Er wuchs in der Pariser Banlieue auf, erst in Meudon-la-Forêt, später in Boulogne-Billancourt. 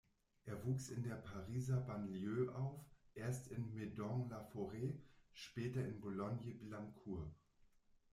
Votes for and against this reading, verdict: 1, 2, rejected